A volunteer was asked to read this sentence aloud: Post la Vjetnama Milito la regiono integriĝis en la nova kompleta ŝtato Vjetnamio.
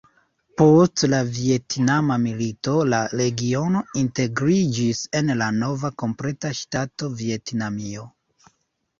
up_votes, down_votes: 1, 2